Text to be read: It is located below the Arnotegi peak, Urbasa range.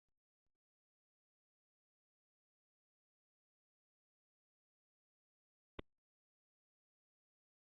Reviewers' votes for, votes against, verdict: 0, 2, rejected